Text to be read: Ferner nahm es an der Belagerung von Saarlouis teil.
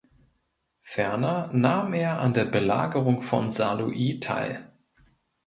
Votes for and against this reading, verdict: 0, 2, rejected